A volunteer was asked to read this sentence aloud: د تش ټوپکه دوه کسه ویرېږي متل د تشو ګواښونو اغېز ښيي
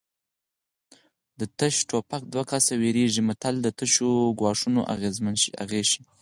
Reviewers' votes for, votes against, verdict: 4, 2, accepted